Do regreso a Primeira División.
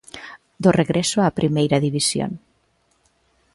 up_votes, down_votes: 2, 0